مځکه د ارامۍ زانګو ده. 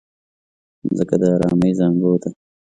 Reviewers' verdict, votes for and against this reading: accepted, 2, 0